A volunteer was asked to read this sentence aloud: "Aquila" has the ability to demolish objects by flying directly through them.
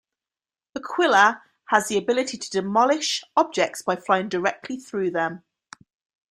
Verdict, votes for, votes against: accepted, 2, 0